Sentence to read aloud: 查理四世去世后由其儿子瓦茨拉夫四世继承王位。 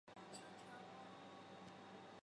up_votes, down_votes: 0, 2